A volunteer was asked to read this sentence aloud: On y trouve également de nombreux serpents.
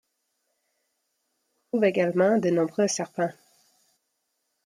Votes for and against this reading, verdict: 0, 2, rejected